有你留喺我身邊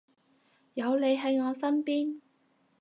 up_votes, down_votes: 0, 4